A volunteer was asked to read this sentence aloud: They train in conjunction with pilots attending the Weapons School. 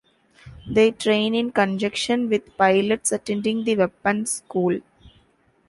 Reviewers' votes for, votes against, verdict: 0, 2, rejected